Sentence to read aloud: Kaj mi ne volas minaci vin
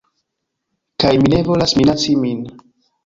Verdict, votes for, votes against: rejected, 1, 2